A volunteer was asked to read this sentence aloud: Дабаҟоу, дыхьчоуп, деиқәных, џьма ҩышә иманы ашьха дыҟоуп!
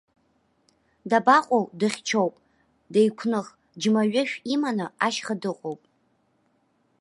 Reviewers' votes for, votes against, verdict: 2, 0, accepted